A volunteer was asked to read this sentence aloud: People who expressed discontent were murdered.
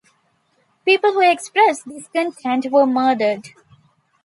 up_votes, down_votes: 2, 0